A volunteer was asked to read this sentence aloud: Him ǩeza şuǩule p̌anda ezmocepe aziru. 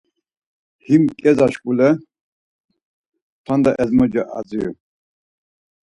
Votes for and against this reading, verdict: 2, 4, rejected